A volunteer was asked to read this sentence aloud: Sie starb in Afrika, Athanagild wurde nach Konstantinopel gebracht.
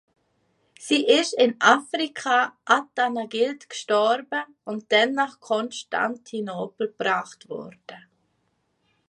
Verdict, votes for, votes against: rejected, 0, 2